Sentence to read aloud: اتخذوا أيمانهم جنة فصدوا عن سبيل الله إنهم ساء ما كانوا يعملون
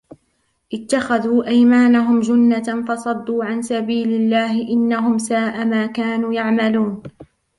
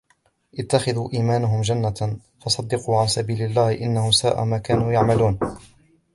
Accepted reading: first